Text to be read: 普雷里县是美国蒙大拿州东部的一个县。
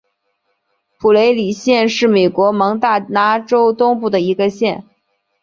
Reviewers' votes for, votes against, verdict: 5, 1, accepted